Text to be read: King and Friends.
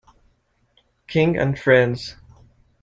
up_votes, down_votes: 2, 1